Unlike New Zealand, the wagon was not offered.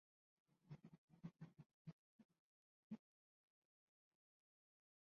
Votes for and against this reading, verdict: 0, 2, rejected